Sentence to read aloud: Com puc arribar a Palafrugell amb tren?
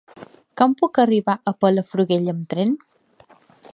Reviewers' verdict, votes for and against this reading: rejected, 1, 2